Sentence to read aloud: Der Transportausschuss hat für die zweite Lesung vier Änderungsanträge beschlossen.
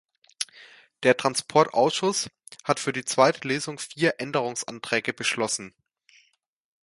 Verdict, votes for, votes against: accepted, 2, 0